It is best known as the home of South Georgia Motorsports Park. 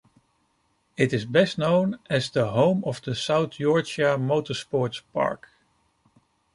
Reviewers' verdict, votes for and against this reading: rejected, 1, 2